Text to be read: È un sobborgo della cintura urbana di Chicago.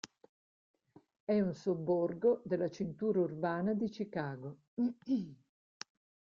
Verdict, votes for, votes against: accepted, 2, 1